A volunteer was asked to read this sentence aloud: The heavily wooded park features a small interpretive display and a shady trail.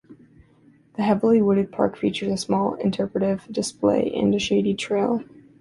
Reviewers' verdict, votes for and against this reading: accepted, 2, 0